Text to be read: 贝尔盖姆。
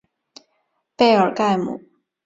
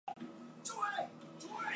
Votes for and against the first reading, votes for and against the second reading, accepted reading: 5, 0, 1, 2, first